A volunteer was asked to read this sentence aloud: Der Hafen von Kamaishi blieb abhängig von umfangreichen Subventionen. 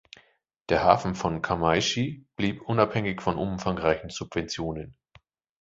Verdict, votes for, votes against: rejected, 0, 2